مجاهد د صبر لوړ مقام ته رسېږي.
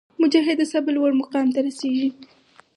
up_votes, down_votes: 4, 0